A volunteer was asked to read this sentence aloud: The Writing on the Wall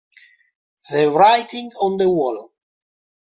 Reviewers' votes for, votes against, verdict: 0, 2, rejected